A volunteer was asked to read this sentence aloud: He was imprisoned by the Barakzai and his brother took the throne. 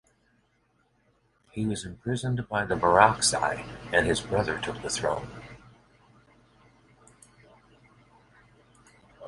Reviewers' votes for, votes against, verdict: 1, 2, rejected